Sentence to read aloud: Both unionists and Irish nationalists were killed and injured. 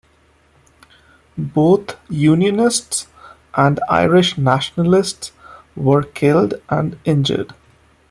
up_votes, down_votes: 2, 0